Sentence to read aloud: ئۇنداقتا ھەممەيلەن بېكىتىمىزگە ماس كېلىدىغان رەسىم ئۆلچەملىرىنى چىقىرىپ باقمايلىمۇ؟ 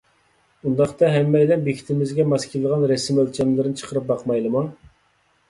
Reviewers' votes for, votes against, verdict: 2, 0, accepted